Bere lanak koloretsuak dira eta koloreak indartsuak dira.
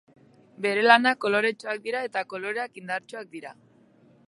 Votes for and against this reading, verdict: 2, 0, accepted